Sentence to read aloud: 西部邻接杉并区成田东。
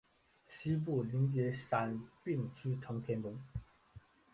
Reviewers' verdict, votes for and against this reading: rejected, 0, 3